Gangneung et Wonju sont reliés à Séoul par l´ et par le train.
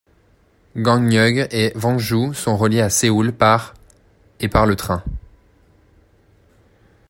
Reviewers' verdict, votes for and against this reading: rejected, 1, 2